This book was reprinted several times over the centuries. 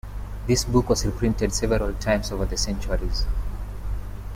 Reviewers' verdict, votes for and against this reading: rejected, 1, 2